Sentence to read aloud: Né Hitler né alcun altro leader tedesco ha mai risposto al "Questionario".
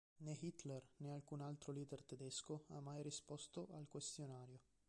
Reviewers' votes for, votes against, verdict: 0, 2, rejected